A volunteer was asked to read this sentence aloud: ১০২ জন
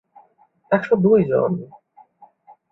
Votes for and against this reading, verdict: 0, 2, rejected